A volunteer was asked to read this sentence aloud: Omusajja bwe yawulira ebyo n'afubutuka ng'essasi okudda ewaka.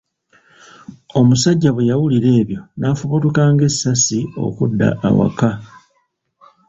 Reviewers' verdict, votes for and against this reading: rejected, 0, 2